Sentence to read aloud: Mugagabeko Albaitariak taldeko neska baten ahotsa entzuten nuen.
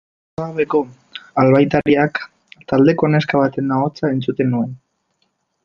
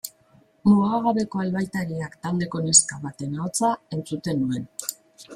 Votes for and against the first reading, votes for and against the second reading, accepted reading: 1, 2, 2, 0, second